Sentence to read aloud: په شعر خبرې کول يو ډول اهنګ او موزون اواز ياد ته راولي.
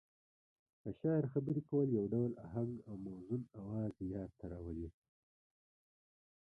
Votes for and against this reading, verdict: 1, 2, rejected